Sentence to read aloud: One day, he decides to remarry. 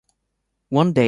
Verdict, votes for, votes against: rejected, 0, 2